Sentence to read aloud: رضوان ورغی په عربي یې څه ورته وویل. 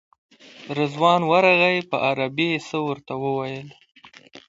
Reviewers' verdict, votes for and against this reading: accepted, 2, 0